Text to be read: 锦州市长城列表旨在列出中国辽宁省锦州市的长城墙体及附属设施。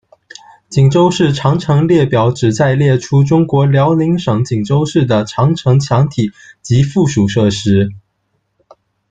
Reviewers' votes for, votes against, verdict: 2, 0, accepted